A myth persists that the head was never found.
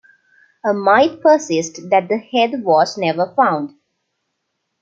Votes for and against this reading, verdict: 0, 2, rejected